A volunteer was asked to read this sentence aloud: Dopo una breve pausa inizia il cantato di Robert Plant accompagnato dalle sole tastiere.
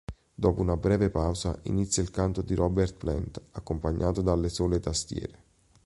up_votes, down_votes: 1, 2